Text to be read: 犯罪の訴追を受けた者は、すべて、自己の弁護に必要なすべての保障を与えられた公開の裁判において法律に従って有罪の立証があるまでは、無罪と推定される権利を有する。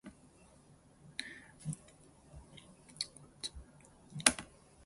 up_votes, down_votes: 0, 4